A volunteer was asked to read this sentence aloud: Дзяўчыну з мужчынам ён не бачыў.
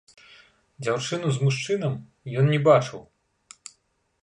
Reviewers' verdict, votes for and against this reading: accepted, 2, 0